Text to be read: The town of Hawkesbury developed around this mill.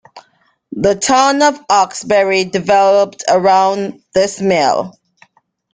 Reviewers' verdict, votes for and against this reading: accepted, 2, 1